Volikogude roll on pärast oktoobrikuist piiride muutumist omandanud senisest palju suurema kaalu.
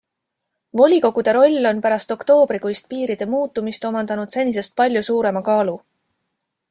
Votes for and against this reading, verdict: 2, 0, accepted